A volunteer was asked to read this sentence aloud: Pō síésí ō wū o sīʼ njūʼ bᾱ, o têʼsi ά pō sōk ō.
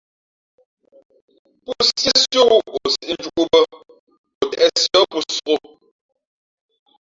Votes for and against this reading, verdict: 1, 2, rejected